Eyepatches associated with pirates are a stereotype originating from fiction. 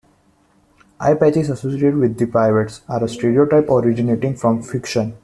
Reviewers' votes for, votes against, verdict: 1, 2, rejected